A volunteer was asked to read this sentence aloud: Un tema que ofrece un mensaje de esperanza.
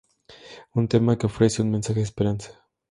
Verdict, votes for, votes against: accepted, 2, 0